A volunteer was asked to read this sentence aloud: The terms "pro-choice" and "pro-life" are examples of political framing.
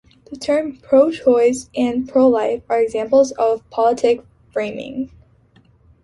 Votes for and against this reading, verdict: 2, 0, accepted